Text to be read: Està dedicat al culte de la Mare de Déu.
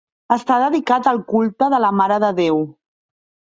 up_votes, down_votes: 2, 0